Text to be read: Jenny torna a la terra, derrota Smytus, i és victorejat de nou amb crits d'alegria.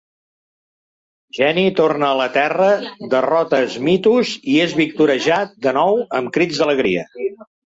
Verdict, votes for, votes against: rejected, 1, 2